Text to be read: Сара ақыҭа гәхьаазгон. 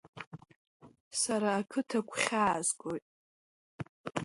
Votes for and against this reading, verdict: 2, 0, accepted